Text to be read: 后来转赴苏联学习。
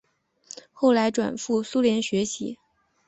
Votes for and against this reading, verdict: 8, 0, accepted